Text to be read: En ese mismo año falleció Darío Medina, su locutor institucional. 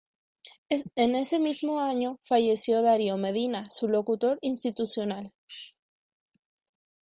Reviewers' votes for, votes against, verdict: 2, 0, accepted